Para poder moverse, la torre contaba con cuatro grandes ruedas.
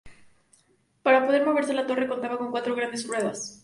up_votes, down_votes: 2, 0